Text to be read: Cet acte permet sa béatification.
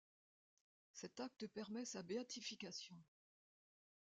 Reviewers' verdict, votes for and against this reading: accepted, 2, 0